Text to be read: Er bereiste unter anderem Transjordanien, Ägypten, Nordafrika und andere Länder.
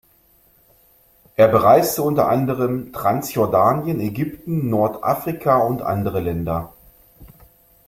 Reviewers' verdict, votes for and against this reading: accepted, 2, 0